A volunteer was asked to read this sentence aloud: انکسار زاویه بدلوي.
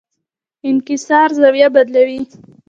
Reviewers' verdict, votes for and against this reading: rejected, 1, 2